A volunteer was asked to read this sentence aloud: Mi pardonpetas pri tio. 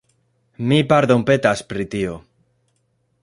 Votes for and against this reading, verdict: 2, 0, accepted